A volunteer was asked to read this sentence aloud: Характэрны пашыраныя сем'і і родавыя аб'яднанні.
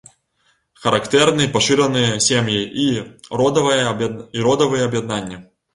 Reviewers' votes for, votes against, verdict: 1, 2, rejected